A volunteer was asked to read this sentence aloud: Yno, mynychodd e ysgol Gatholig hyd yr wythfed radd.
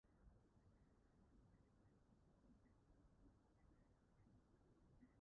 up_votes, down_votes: 0, 2